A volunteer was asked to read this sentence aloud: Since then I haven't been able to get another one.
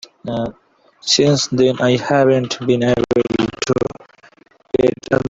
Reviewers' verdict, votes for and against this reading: rejected, 0, 4